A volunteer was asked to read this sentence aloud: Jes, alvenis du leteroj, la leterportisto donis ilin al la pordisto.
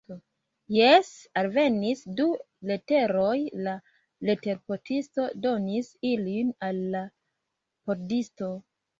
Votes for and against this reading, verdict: 2, 1, accepted